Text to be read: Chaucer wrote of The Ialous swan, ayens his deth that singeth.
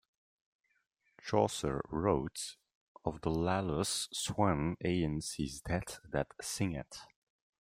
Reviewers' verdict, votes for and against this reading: rejected, 1, 2